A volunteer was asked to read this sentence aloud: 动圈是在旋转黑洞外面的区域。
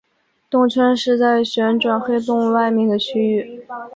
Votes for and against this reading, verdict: 2, 0, accepted